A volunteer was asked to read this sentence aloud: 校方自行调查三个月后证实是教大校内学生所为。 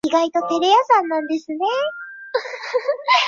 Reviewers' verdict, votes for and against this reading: rejected, 0, 3